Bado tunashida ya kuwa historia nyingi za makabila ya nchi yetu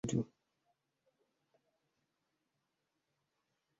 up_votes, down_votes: 0, 2